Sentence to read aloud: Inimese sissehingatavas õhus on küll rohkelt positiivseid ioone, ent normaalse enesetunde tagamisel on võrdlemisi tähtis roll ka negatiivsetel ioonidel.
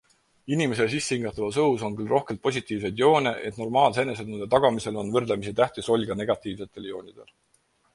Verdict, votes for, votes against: accepted, 4, 0